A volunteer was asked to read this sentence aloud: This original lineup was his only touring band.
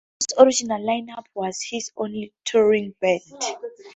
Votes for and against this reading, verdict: 2, 2, rejected